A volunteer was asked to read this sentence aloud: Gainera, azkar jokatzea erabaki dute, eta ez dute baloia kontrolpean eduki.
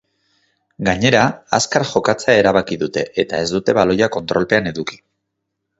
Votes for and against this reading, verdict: 4, 0, accepted